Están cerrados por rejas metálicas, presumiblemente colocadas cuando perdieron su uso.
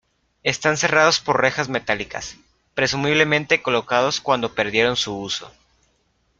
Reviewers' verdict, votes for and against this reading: rejected, 0, 2